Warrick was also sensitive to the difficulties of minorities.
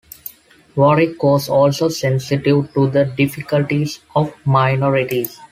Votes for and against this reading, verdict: 2, 0, accepted